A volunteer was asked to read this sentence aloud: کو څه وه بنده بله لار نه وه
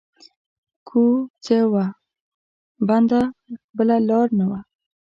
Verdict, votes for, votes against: rejected, 1, 2